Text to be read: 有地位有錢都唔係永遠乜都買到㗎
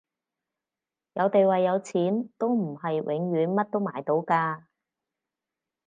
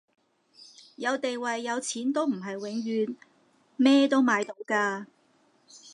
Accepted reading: first